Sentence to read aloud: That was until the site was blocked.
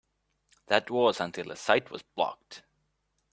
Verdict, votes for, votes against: accepted, 2, 0